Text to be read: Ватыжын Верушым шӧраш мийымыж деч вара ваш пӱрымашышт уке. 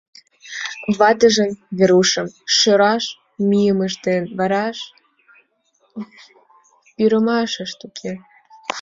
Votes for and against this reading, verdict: 0, 2, rejected